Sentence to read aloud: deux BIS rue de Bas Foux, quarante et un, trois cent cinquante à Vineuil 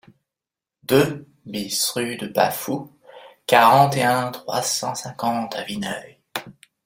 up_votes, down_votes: 2, 0